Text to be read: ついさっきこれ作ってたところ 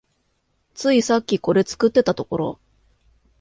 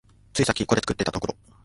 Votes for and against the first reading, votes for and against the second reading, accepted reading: 2, 0, 1, 2, first